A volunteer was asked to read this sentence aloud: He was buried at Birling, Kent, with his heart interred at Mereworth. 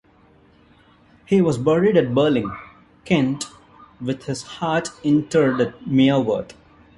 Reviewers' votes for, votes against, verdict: 2, 3, rejected